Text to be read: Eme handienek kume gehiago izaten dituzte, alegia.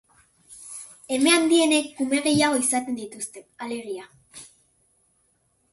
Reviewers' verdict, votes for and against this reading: accepted, 4, 0